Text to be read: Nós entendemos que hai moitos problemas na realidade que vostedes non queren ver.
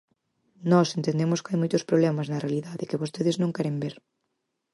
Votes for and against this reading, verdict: 4, 0, accepted